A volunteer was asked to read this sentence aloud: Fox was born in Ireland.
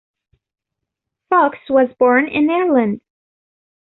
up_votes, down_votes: 0, 2